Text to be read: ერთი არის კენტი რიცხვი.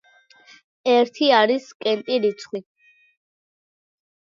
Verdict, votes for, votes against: accepted, 2, 0